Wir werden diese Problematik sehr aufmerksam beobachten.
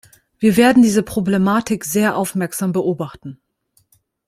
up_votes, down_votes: 2, 0